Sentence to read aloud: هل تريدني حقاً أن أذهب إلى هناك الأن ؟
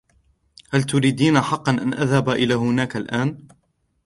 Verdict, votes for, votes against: accepted, 2, 0